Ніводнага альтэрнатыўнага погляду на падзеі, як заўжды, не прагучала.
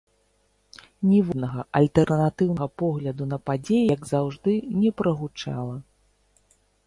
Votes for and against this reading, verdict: 0, 2, rejected